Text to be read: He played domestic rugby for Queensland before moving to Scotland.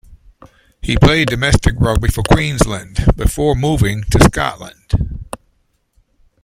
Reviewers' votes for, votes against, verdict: 1, 2, rejected